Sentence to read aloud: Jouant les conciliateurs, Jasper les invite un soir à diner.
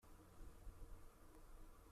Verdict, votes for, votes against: rejected, 0, 2